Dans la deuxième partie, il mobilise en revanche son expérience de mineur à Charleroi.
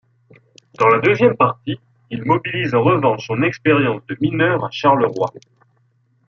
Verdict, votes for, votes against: accepted, 2, 0